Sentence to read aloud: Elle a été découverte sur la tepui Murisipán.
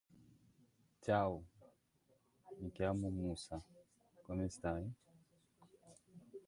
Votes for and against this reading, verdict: 0, 2, rejected